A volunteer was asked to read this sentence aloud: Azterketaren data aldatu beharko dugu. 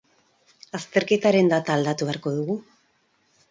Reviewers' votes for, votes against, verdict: 4, 0, accepted